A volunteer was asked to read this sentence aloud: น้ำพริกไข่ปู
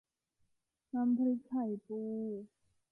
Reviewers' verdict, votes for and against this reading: accepted, 2, 0